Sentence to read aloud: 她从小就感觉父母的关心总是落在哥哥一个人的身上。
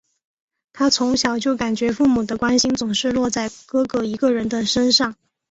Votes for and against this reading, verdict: 2, 0, accepted